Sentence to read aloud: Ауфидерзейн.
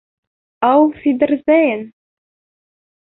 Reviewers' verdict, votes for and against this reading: rejected, 1, 2